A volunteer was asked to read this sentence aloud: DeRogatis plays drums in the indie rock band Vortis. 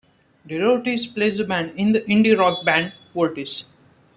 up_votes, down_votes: 1, 2